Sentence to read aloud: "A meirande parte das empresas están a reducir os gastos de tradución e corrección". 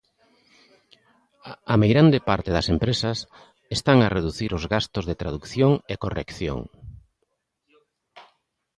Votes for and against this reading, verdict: 1, 2, rejected